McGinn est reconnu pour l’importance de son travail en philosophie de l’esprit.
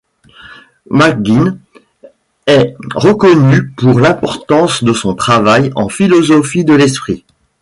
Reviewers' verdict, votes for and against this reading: accepted, 2, 0